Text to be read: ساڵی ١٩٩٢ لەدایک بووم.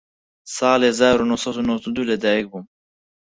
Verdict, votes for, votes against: rejected, 0, 2